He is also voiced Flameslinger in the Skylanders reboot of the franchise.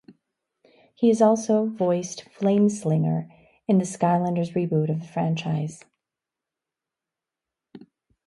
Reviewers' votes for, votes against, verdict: 0, 2, rejected